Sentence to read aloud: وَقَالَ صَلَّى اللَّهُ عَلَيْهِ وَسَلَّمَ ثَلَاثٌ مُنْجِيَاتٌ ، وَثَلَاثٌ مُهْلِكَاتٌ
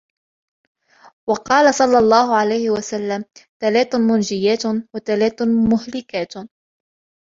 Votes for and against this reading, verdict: 2, 0, accepted